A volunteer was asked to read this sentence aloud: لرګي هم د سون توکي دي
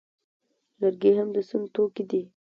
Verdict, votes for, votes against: accepted, 2, 0